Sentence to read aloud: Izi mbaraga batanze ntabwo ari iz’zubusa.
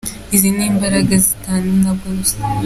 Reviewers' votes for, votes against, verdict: 0, 2, rejected